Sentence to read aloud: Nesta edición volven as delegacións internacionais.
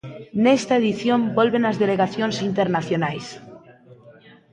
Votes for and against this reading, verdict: 1, 2, rejected